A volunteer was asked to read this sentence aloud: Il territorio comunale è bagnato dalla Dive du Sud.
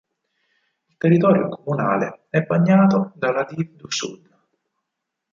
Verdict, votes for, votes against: rejected, 0, 4